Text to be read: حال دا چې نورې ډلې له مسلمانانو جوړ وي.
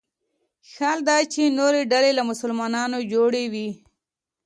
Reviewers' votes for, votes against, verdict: 2, 0, accepted